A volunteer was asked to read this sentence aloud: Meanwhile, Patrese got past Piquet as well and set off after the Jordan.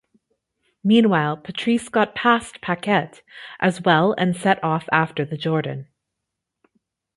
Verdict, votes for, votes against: accepted, 2, 0